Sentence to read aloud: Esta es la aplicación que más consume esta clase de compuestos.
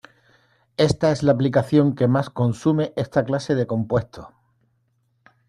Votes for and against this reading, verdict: 0, 2, rejected